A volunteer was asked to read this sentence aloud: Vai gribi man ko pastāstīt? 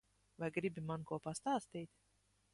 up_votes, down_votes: 2, 0